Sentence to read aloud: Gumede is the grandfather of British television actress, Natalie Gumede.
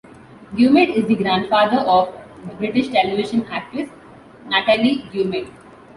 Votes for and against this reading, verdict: 2, 0, accepted